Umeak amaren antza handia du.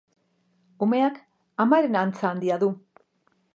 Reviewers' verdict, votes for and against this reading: accepted, 2, 0